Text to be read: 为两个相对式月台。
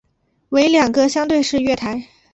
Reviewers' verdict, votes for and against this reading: accepted, 3, 0